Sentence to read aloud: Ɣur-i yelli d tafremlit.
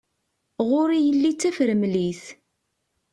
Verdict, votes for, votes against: accepted, 2, 0